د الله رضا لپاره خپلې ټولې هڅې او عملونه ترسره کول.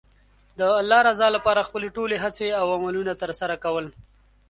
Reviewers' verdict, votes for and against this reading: accepted, 2, 0